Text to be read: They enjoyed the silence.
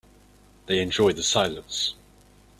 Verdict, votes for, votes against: accepted, 2, 0